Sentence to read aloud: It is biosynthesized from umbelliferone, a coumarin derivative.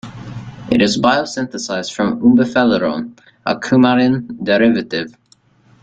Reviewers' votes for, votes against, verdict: 2, 1, accepted